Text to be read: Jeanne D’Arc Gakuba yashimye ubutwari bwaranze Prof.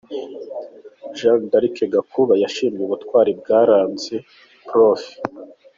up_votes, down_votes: 2, 1